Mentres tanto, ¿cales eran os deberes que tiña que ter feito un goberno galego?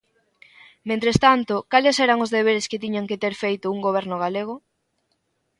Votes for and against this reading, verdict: 0, 3, rejected